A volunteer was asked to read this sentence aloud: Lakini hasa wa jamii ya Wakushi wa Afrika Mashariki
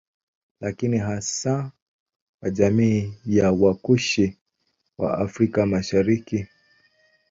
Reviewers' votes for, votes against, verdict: 1, 2, rejected